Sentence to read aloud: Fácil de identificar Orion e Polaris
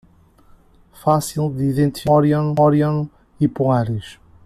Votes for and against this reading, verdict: 0, 2, rejected